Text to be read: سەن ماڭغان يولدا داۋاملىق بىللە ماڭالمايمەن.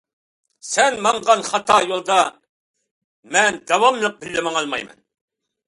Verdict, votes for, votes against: rejected, 0, 2